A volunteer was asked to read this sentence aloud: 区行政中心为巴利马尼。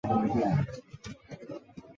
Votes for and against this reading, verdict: 0, 4, rejected